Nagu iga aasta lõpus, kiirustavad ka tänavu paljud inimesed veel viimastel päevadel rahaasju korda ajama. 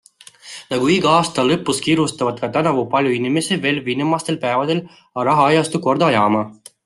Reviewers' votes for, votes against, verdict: 0, 2, rejected